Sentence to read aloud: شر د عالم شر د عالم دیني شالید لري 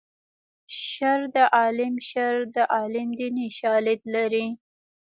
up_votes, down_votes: 2, 1